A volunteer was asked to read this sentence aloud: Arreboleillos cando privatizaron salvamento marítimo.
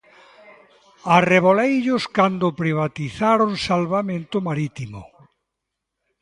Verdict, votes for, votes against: accepted, 2, 0